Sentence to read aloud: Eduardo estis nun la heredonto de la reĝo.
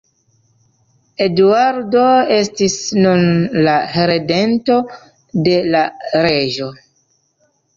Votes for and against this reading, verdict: 0, 2, rejected